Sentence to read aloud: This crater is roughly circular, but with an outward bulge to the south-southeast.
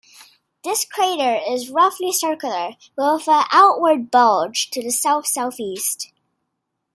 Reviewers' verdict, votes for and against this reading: accepted, 2, 1